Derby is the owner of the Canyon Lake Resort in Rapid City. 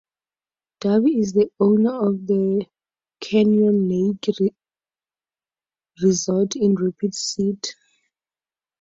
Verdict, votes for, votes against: accepted, 2, 0